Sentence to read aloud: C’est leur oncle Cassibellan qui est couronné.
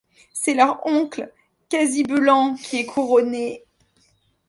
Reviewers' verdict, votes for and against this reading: rejected, 1, 2